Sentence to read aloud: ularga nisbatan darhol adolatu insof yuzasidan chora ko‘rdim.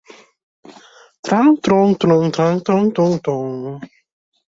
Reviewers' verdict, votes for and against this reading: rejected, 0, 2